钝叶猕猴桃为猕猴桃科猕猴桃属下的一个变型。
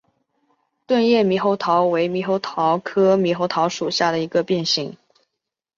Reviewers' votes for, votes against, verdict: 5, 0, accepted